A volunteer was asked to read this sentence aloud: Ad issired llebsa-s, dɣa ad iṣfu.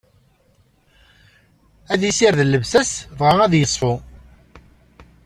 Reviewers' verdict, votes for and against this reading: accepted, 2, 1